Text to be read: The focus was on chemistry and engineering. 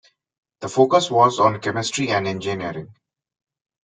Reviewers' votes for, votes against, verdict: 2, 0, accepted